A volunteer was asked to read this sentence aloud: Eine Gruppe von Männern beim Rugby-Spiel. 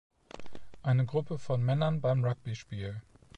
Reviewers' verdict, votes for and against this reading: accepted, 2, 0